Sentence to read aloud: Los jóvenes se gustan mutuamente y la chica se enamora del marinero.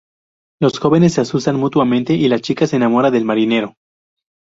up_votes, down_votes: 0, 2